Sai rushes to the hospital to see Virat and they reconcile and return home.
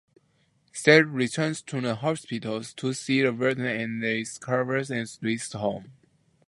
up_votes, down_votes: 0, 2